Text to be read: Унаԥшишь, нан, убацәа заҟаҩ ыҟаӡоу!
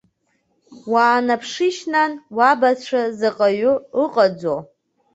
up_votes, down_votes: 1, 2